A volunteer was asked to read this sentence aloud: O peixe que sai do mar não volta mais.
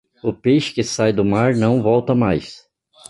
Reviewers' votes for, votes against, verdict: 2, 0, accepted